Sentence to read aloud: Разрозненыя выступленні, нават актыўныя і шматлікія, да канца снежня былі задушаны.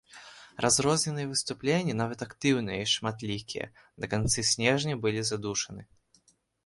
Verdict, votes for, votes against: rejected, 2, 3